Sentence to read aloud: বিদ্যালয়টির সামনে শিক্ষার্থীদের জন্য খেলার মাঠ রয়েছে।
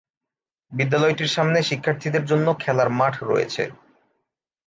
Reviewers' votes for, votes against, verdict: 2, 1, accepted